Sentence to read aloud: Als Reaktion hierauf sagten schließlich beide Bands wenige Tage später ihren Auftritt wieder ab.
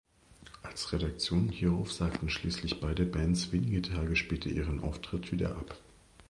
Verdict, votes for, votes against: rejected, 0, 2